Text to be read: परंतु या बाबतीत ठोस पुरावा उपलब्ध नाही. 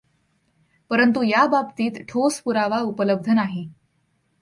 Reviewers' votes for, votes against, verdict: 2, 0, accepted